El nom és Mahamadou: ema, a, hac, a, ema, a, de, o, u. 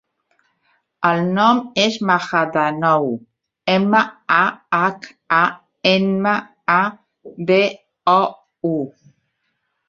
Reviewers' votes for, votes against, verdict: 0, 2, rejected